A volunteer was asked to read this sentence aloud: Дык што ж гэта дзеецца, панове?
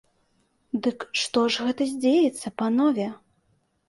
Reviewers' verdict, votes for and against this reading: rejected, 0, 2